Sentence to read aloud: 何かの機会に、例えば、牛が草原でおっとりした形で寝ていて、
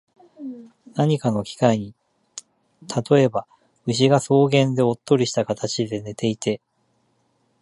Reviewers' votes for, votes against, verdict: 2, 0, accepted